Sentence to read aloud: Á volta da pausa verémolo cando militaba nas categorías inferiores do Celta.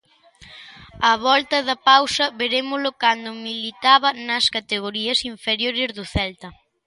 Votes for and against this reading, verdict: 2, 0, accepted